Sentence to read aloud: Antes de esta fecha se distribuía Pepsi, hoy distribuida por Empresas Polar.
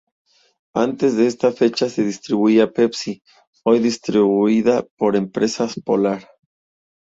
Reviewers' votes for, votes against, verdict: 2, 0, accepted